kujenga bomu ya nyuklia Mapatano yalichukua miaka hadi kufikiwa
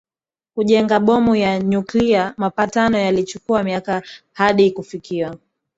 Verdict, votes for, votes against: accepted, 2, 0